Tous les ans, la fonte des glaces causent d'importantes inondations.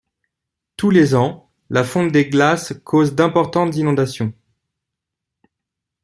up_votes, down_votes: 2, 0